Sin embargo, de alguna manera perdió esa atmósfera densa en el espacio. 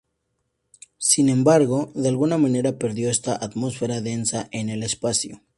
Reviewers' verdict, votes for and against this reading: rejected, 0, 4